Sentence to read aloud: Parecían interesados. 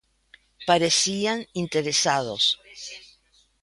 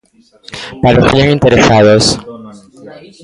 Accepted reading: first